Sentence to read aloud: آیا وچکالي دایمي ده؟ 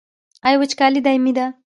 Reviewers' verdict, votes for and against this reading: rejected, 1, 2